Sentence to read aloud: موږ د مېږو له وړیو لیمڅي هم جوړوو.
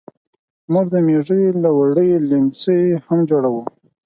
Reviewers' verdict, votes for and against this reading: accepted, 4, 0